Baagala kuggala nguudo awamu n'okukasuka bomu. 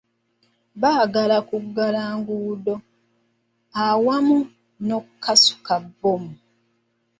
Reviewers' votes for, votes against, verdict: 0, 2, rejected